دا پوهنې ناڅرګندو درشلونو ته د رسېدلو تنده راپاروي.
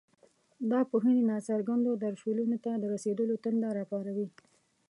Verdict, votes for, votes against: rejected, 1, 2